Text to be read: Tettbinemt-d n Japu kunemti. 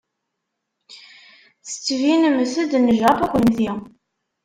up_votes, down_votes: 0, 2